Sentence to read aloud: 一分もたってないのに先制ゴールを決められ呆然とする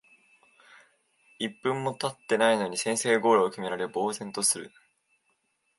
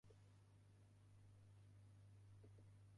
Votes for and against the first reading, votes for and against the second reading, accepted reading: 2, 0, 0, 2, first